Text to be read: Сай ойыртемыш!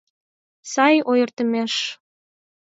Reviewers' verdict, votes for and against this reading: accepted, 8, 6